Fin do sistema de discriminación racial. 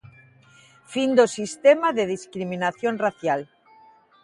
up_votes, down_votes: 2, 0